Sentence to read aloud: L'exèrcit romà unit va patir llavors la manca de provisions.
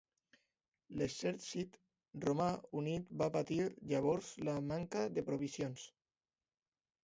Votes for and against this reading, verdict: 2, 0, accepted